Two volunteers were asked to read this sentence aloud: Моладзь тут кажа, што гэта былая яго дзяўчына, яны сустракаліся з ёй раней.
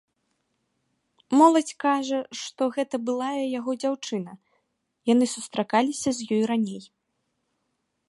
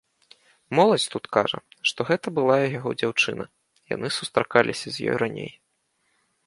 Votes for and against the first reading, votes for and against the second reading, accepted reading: 1, 2, 2, 0, second